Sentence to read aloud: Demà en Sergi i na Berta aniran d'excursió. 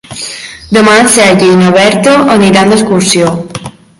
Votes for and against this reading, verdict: 2, 1, accepted